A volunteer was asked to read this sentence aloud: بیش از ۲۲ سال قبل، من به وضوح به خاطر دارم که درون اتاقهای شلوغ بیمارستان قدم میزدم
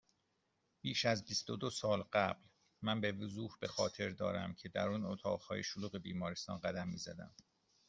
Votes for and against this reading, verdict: 0, 2, rejected